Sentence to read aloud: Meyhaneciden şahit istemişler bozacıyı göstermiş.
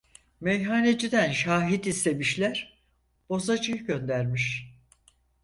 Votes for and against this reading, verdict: 0, 4, rejected